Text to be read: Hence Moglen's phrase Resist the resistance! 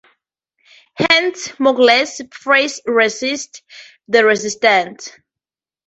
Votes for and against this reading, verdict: 0, 2, rejected